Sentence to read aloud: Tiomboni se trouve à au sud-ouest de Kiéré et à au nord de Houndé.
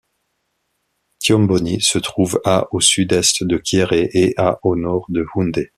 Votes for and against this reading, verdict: 0, 2, rejected